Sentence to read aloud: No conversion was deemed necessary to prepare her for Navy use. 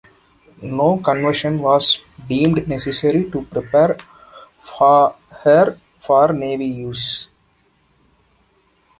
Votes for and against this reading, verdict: 0, 2, rejected